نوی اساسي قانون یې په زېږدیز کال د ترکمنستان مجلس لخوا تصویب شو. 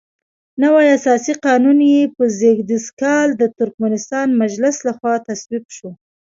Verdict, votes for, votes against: accepted, 2, 0